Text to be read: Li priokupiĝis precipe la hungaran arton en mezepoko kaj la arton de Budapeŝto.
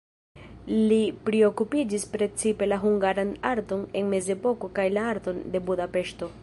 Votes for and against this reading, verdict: 0, 2, rejected